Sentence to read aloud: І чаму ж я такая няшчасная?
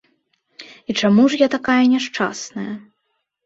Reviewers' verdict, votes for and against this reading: accepted, 2, 0